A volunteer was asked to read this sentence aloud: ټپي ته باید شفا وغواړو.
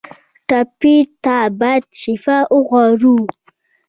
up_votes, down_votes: 2, 0